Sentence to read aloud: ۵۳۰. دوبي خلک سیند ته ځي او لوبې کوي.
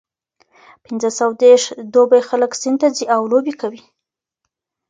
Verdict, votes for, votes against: rejected, 0, 2